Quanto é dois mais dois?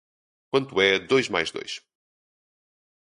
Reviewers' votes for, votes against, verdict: 2, 0, accepted